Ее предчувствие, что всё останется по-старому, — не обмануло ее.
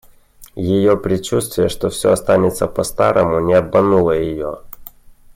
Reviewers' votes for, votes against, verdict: 2, 0, accepted